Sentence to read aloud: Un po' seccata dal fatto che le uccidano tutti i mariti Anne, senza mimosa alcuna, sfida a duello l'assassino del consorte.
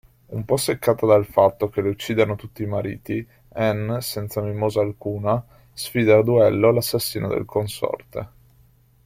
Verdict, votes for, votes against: accepted, 2, 0